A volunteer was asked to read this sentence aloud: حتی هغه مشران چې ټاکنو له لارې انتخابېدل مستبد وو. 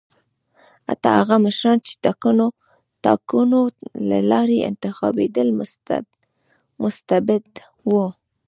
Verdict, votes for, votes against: rejected, 1, 2